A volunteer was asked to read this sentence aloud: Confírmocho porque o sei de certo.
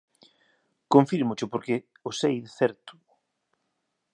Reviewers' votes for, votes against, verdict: 1, 2, rejected